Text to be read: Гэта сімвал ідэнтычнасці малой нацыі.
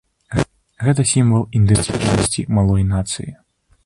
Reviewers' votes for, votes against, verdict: 1, 3, rejected